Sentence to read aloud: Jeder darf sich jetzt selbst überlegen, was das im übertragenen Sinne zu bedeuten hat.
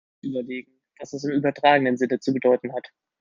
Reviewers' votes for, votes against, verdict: 0, 2, rejected